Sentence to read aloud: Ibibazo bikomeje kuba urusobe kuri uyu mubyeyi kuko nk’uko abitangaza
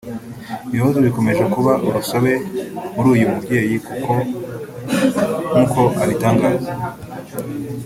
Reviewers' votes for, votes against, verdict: 0, 2, rejected